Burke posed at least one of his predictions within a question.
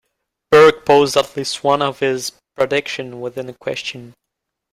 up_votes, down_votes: 1, 2